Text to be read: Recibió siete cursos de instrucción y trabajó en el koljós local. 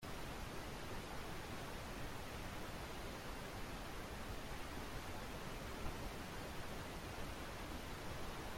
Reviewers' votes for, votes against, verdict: 0, 2, rejected